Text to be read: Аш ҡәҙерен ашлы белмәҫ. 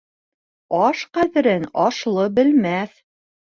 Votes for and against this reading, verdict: 2, 0, accepted